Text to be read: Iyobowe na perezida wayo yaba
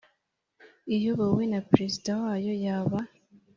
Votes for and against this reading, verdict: 3, 0, accepted